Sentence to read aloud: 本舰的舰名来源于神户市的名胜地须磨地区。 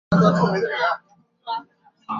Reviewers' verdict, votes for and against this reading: rejected, 0, 3